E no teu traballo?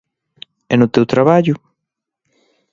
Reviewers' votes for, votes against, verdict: 3, 0, accepted